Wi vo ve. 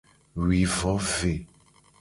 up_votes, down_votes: 2, 0